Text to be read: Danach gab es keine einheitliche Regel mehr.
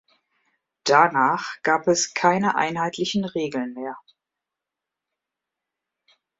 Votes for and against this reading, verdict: 1, 2, rejected